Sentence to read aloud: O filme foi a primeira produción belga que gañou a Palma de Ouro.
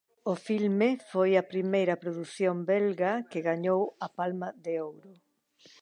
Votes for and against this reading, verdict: 2, 1, accepted